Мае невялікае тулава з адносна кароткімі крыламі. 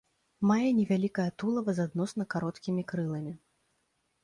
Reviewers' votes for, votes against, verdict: 2, 0, accepted